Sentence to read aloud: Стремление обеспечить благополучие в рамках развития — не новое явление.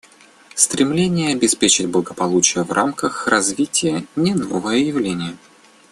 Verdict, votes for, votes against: accepted, 2, 0